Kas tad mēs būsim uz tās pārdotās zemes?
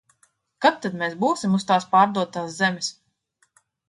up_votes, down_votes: 1, 2